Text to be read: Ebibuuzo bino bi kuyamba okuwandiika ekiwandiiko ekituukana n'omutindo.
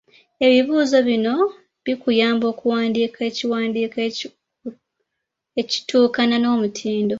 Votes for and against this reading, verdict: 0, 2, rejected